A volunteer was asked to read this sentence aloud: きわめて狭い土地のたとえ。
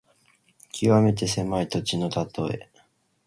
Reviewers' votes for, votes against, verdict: 4, 0, accepted